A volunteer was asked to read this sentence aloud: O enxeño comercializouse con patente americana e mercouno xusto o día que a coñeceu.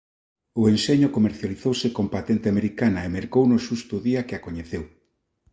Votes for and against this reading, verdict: 2, 0, accepted